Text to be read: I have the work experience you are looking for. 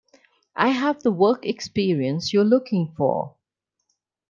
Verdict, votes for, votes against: accepted, 2, 1